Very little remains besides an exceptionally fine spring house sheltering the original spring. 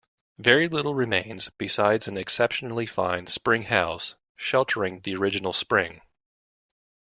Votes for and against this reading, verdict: 2, 0, accepted